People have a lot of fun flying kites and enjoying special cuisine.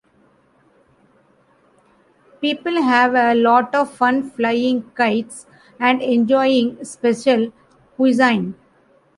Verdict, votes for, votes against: rejected, 0, 2